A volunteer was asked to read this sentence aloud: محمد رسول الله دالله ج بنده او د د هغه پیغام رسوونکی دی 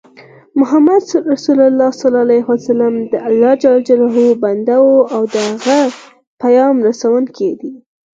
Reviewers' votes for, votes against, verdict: 0, 4, rejected